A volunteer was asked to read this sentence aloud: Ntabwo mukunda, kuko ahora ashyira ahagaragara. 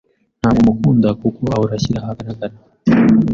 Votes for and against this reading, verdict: 0, 2, rejected